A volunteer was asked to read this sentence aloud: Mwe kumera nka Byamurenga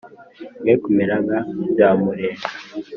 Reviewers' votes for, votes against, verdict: 2, 0, accepted